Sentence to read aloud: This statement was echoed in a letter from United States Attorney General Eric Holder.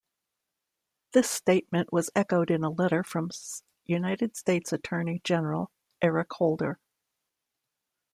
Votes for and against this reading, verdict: 1, 2, rejected